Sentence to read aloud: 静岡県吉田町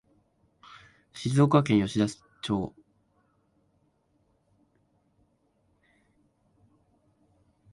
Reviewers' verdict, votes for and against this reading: rejected, 1, 2